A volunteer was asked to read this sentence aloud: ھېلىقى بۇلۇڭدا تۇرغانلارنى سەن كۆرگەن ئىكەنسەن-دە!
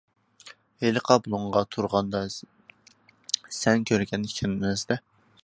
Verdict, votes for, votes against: rejected, 0, 2